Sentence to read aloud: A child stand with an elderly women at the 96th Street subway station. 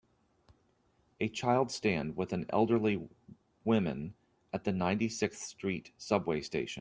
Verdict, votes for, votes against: rejected, 0, 2